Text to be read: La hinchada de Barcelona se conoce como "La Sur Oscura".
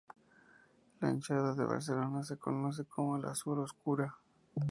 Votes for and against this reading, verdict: 2, 0, accepted